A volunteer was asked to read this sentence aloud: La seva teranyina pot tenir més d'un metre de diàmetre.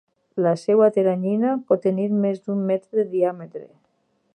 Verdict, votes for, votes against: rejected, 0, 4